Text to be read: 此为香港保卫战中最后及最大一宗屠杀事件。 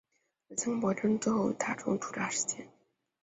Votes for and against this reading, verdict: 1, 3, rejected